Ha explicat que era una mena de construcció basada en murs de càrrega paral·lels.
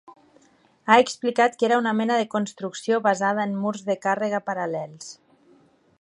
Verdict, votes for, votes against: accepted, 3, 0